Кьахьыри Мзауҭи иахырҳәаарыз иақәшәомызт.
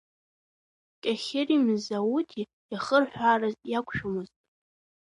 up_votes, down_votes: 2, 1